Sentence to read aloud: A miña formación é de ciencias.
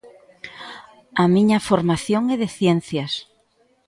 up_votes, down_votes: 2, 0